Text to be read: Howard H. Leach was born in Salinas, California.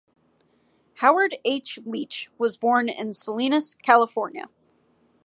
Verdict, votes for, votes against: accepted, 2, 0